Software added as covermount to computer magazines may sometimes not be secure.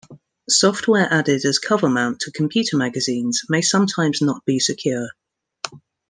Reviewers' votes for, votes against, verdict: 2, 0, accepted